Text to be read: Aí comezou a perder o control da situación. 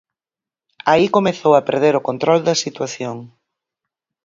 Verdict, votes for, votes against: accepted, 4, 0